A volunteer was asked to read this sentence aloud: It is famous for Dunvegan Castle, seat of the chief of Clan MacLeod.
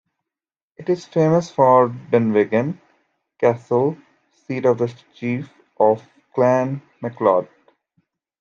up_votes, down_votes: 1, 2